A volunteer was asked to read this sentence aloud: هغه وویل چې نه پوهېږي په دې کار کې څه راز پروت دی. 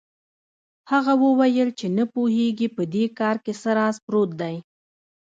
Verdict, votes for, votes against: rejected, 0, 2